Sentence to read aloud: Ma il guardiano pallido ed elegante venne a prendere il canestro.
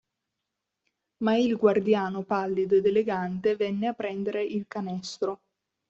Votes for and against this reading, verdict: 2, 0, accepted